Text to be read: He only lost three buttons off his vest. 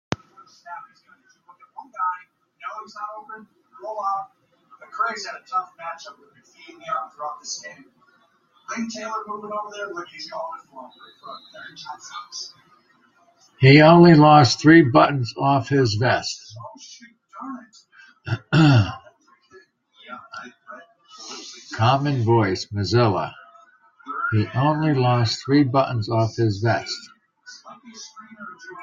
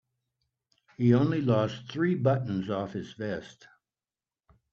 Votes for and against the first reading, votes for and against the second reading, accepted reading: 0, 2, 3, 0, second